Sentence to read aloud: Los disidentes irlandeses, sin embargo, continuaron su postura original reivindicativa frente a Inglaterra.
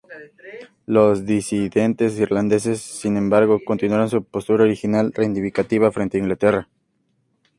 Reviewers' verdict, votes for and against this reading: accepted, 2, 0